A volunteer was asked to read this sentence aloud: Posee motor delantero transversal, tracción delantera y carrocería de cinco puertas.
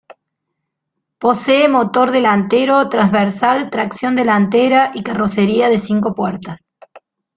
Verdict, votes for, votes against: accepted, 2, 0